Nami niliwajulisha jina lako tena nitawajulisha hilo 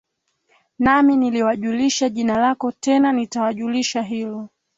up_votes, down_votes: 2, 0